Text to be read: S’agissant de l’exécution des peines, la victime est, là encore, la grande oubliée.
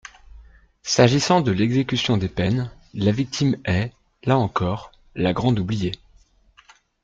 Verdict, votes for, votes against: accepted, 2, 0